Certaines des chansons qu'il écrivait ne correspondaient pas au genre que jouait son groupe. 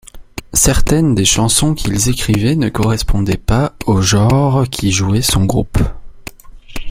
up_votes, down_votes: 0, 2